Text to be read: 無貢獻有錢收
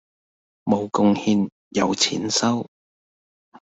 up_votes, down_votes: 2, 0